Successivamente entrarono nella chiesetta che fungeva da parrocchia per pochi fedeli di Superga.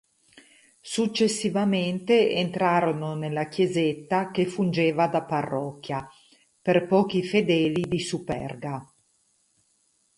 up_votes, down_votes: 2, 0